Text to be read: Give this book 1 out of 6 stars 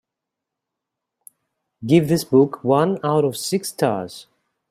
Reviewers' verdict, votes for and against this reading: rejected, 0, 2